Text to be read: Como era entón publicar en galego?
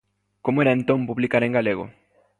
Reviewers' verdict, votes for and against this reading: accepted, 2, 0